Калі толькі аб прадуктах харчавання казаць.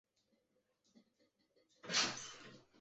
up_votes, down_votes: 1, 2